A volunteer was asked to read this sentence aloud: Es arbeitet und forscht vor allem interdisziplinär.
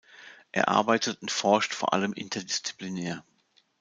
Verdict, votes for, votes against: rejected, 1, 2